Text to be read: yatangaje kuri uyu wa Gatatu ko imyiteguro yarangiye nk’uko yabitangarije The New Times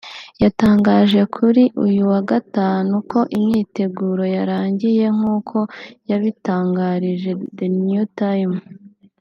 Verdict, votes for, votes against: accepted, 2, 0